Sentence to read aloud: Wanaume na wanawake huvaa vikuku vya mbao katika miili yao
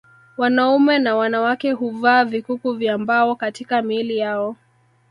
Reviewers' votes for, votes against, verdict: 5, 0, accepted